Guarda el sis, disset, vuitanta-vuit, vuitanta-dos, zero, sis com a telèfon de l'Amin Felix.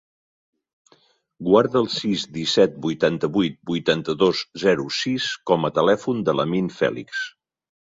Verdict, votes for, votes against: accepted, 3, 0